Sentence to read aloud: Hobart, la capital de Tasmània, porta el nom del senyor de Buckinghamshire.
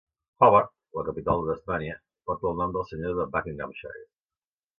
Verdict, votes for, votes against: accepted, 2, 0